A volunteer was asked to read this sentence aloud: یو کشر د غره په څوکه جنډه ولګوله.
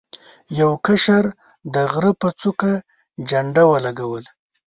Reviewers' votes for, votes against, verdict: 2, 0, accepted